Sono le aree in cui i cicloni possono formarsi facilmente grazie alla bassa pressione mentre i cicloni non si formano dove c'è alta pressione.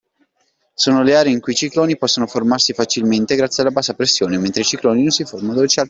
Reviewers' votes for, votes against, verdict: 0, 2, rejected